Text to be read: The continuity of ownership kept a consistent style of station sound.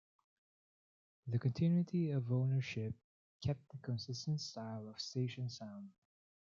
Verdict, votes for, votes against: rejected, 0, 2